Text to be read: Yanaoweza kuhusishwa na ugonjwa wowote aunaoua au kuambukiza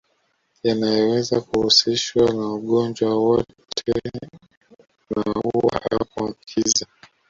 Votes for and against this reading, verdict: 1, 2, rejected